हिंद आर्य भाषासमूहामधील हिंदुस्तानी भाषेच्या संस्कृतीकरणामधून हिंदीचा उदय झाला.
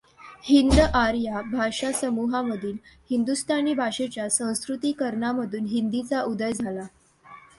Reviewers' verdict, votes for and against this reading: accepted, 2, 0